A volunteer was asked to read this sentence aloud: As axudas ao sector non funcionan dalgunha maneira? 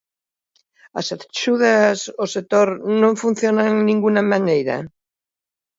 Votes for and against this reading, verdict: 0, 2, rejected